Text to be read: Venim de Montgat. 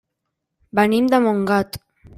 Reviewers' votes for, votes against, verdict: 3, 0, accepted